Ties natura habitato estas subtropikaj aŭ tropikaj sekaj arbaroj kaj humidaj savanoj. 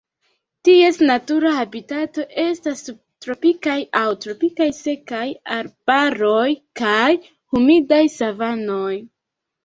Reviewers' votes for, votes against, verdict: 2, 1, accepted